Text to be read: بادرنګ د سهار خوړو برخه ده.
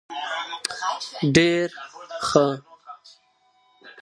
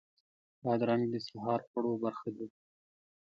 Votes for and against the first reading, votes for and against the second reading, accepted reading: 0, 2, 3, 0, second